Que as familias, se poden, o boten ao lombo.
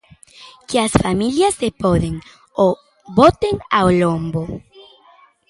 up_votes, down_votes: 2, 0